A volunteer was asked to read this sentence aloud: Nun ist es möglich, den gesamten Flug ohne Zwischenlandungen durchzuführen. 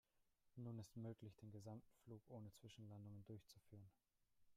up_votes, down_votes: 0, 2